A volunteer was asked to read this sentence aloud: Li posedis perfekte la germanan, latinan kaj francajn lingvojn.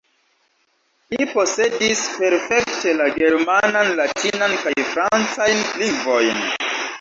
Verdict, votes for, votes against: rejected, 1, 2